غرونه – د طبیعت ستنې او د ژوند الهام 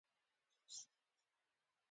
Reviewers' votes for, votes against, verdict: 1, 2, rejected